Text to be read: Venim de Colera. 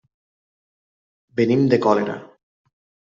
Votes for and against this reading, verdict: 1, 2, rejected